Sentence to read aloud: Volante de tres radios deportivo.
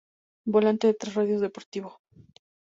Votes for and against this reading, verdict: 2, 2, rejected